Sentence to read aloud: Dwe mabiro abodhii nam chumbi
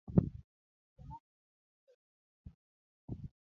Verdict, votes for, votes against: accepted, 2, 0